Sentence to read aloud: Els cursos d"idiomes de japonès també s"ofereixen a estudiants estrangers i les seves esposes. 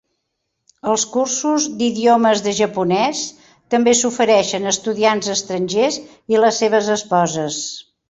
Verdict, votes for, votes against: accepted, 2, 0